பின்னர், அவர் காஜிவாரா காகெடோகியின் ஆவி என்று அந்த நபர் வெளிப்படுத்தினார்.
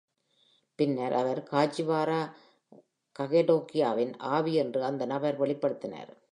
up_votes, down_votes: 2, 1